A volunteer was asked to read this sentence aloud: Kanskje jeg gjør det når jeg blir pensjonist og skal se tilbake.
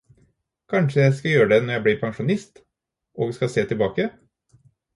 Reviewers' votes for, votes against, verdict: 0, 4, rejected